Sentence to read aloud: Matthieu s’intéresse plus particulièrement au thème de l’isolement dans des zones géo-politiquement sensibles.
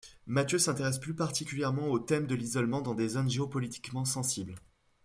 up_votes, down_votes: 2, 0